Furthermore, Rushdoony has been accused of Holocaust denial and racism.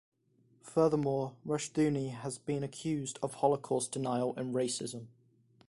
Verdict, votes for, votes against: accepted, 2, 0